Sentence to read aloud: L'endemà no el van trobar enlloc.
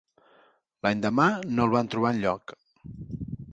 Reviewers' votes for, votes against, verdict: 2, 0, accepted